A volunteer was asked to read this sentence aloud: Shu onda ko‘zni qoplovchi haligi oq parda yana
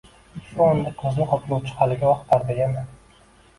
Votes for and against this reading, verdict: 1, 2, rejected